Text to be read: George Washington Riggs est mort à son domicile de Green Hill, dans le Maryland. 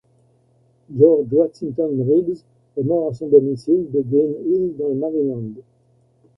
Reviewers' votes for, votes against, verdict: 1, 2, rejected